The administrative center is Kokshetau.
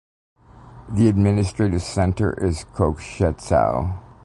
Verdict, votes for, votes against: accepted, 2, 1